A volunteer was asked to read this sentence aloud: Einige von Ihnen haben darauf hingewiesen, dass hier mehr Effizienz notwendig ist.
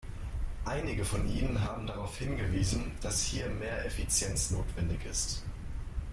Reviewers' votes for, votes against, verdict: 1, 2, rejected